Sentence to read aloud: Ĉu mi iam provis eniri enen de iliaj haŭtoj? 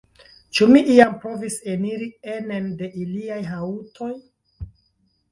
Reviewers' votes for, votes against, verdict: 1, 3, rejected